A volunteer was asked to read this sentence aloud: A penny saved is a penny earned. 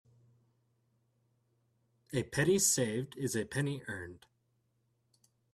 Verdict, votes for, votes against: accepted, 2, 0